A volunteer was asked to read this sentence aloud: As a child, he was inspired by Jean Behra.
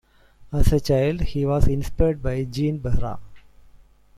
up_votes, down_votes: 3, 0